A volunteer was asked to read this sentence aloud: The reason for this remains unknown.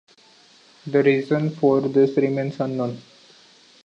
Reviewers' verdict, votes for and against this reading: accepted, 2, 0